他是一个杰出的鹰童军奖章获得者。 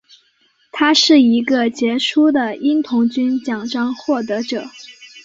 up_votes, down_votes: 7, 0